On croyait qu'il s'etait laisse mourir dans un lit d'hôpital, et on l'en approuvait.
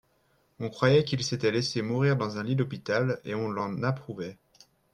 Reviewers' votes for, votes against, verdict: 0, 2, rejected